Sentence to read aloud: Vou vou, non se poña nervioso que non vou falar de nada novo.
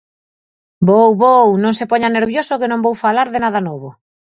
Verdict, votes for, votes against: accepted, 4, 0